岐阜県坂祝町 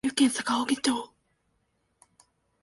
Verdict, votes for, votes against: rejected, 0, 2